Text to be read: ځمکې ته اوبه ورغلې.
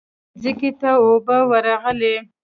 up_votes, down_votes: 1, 2